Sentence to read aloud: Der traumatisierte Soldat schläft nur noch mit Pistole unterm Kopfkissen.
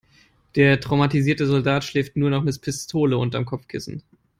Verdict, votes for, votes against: rejected, 1, 2